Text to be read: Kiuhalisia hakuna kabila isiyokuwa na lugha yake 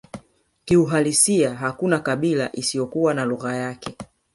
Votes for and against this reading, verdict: 3, 1, accepted